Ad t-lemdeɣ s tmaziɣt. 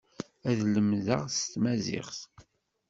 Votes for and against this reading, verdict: 0, 2, rejected